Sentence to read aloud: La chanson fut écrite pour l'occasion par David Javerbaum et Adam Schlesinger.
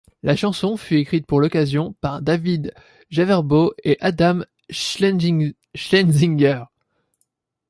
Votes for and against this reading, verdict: 1, 2, rejected